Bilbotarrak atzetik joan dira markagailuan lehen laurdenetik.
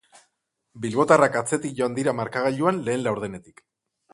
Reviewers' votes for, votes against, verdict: 4, 0, accepted